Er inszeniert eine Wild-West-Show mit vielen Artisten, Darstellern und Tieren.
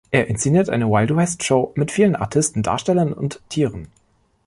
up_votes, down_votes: 2, 0